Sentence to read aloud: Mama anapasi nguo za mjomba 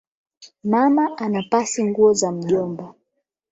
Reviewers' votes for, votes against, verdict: 12, 0, accepted